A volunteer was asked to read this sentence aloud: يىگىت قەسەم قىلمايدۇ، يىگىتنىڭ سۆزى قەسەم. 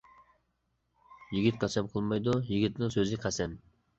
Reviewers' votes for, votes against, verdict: 2, 0, accepted